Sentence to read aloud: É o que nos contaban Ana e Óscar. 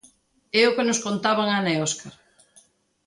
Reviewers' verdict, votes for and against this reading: accepted, 2, 0